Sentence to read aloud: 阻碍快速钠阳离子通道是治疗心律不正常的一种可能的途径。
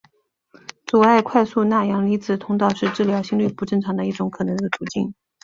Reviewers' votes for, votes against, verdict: 6, 0, accepted